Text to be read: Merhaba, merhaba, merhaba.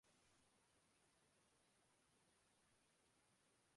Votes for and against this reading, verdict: 0, 2, rejected